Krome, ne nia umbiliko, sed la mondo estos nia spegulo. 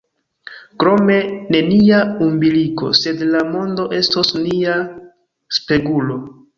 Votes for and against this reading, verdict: 2, 0, accepted